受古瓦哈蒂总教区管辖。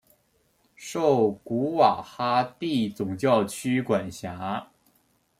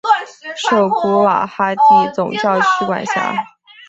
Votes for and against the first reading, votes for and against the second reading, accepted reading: 2, 0, 1, 2, first